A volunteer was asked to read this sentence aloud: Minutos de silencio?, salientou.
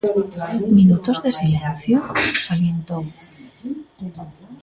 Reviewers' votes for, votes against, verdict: 2, 0, accepted